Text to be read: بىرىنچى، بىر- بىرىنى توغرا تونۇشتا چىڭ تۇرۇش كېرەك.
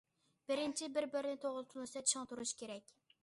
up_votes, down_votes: 0, 2